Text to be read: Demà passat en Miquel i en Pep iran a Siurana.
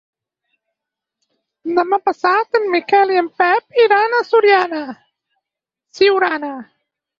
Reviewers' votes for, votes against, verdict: 0, 4, rejected